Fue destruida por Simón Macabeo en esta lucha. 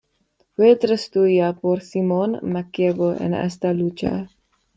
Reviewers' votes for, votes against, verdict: 2, 1, accepted